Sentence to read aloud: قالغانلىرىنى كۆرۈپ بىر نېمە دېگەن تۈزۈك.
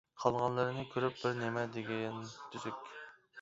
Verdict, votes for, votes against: rejected, 1, 2